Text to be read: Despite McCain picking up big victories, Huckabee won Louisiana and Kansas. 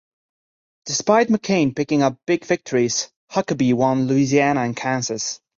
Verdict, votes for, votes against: accepted, 2, 1